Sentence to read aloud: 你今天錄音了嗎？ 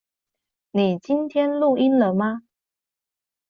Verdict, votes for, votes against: accepted, 2, 0